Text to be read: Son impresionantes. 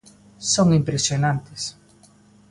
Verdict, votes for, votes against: accepted, 2, 0